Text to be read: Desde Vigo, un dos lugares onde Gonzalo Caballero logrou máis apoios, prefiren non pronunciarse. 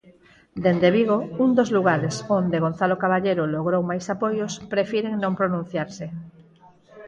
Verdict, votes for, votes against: rejected, 0, 4